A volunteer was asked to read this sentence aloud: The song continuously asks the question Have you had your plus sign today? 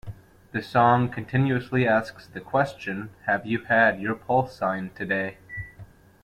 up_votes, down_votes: 1, 2